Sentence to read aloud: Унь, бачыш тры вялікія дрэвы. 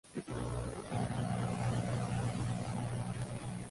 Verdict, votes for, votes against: rejected, 0, 2